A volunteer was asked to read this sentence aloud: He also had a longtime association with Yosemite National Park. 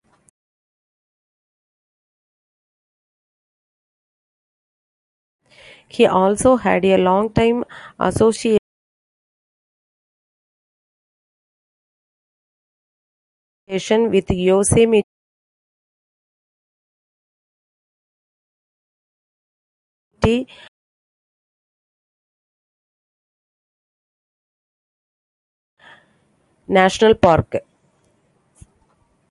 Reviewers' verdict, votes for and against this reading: rejected, 0, 2